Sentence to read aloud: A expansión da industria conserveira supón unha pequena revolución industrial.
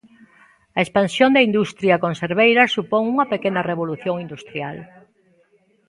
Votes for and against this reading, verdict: 1, 2, rejected